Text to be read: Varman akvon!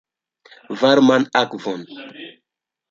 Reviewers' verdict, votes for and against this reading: accepted, 2, 0